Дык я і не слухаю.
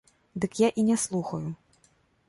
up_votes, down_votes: 2, 0